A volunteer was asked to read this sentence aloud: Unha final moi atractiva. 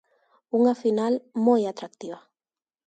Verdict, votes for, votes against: accepted, 2, 0